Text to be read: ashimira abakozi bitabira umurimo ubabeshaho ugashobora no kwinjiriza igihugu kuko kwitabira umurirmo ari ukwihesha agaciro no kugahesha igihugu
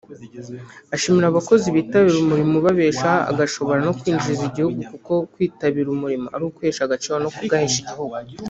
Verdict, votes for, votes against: rejected, 0, 2